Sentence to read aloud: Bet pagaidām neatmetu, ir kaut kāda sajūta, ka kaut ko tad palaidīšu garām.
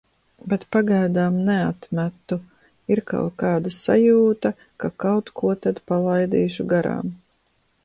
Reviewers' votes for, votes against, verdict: 1, 2, rejected